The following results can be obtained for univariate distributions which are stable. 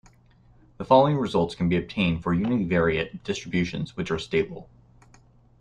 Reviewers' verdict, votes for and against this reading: accepted, 2, 0